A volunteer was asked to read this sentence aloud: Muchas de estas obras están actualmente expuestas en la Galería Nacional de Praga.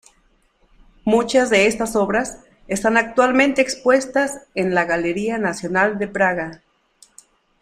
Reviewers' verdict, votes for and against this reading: accepted, 2, 0